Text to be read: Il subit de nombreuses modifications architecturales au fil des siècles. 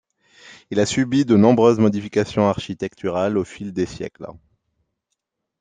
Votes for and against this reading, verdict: 1, 2, rejected